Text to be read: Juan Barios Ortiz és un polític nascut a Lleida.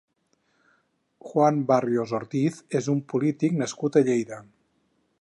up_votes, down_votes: 2, 4